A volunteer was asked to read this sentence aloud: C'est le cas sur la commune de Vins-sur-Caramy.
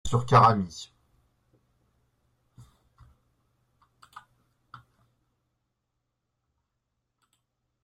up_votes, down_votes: 0, 2